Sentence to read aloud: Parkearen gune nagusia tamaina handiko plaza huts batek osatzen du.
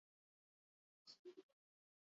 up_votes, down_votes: 0, 4